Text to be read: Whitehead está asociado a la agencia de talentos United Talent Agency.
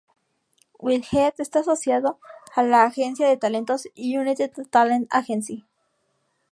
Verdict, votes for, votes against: accepted, 2, 0